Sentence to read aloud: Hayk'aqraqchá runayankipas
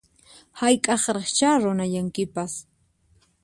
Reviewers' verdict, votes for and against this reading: accepted, 4, 0